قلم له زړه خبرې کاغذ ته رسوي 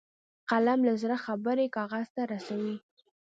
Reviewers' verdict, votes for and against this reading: accepted, 2, 0